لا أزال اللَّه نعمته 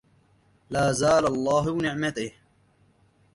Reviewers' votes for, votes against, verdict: 0, 2, rejected